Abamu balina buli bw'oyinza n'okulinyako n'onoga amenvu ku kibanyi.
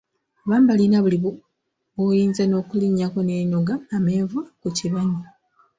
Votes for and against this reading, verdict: 1, 3, rejected